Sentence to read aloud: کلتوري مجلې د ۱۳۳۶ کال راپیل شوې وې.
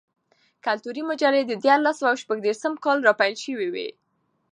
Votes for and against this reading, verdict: 0, 2, rejected